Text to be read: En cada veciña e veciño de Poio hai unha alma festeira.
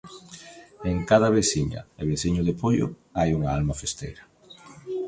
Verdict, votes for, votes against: accepted, 2, 0